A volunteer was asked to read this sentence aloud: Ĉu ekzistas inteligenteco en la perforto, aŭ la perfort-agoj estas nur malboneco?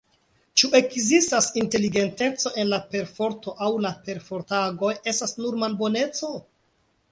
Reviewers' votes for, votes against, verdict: 1, 2, rejected